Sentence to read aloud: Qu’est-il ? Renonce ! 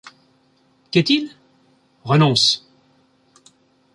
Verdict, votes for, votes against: accepted, 2, 0